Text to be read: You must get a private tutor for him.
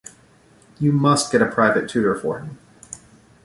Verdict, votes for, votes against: accepted, 2, 0